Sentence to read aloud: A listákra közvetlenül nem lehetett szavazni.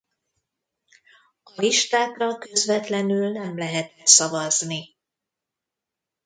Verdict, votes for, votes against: rejected, 1, 2